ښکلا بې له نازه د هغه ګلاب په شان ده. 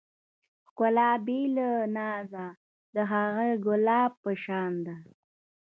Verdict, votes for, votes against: rejected, 1, 2